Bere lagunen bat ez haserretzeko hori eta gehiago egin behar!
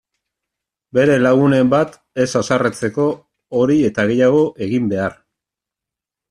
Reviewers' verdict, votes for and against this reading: accepted, 2, 0